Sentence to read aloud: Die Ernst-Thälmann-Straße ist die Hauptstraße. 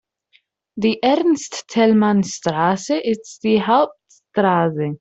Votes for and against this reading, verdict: 2, 0, accepted